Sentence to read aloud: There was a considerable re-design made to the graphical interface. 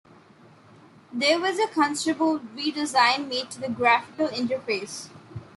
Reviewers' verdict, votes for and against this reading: accepted, 2, 0